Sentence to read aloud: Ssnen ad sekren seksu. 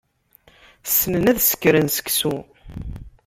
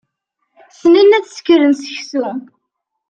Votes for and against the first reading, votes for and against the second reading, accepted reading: 1, 2, 2, 0, second